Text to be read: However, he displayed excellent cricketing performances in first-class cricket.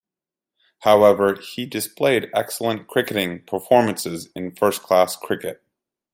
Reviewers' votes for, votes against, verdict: 2, 0, accepted